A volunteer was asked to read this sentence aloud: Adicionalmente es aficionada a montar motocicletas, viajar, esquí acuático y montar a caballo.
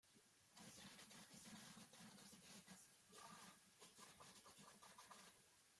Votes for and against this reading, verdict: 0, 2, rejected